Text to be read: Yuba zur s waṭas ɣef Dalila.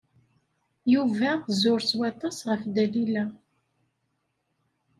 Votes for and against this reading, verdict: 2, 0, accepted